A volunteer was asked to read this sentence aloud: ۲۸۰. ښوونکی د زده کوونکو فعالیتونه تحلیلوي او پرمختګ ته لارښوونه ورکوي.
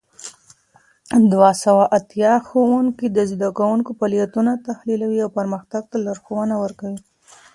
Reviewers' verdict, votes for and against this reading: rejected, 0, 2